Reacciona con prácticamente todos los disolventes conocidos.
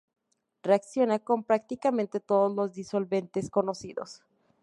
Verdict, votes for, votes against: accepted, 2, 0